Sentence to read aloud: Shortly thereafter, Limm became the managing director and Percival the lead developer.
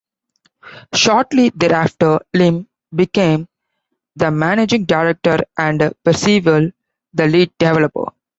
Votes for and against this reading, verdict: 2, 1, accepted